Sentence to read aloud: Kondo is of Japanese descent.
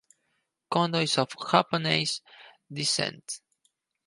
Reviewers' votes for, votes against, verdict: 0, 4, rejected